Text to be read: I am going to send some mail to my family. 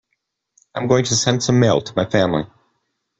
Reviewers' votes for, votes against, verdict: 0, 2, rejected